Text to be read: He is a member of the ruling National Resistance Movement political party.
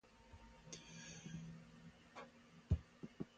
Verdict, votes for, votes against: rejected, 0, 2